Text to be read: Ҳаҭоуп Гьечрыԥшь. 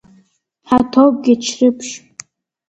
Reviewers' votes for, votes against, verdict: 2, 0, accepted